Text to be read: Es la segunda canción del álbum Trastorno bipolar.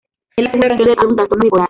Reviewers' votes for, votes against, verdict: 0, 2, rejected